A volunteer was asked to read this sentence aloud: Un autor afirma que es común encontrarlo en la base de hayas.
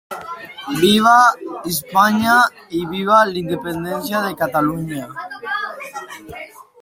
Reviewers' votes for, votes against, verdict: 0, 2, rejected